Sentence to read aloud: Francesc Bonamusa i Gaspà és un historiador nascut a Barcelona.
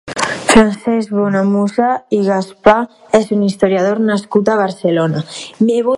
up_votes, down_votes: 0, 2